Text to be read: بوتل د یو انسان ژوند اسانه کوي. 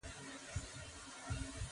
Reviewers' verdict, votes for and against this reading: rejected, 3, 6